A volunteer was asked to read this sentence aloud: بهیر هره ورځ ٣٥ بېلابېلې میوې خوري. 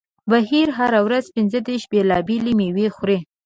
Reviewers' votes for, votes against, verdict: 0, 2, rejected